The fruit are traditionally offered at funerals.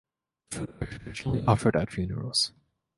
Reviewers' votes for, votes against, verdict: 1, 2, rejected